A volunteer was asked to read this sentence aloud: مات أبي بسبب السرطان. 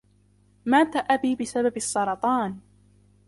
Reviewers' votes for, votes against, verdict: 2, 0, accepted